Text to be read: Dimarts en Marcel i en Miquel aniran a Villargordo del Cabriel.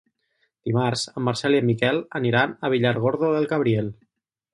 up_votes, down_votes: 2, 2